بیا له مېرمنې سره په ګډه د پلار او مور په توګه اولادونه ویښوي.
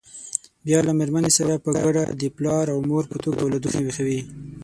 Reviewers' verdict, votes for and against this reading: rejected, 3, 6